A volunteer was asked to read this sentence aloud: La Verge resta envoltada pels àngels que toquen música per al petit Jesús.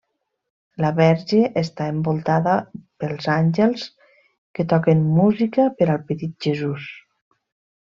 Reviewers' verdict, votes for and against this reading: rejected, 1, 2